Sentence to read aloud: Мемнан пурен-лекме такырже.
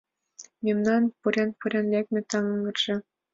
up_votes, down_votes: 2, 0